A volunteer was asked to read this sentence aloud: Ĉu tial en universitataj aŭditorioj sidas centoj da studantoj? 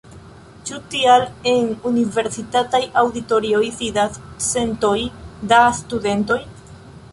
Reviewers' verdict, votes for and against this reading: rejected, 1, 2